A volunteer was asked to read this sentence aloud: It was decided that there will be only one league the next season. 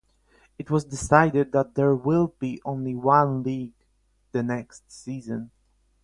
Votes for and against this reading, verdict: 4, 4, rejected